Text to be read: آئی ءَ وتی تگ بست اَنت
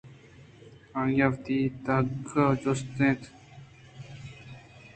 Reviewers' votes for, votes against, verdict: 0, 2, rejected